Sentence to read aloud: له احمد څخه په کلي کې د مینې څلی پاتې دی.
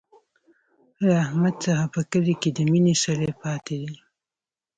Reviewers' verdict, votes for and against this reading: rejected, 1, 2